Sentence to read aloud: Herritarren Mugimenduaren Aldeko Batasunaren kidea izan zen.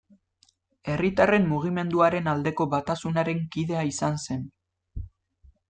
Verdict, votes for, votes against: accepted, 2, 0